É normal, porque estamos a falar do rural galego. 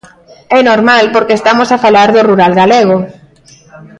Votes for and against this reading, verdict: 2, 0, accepted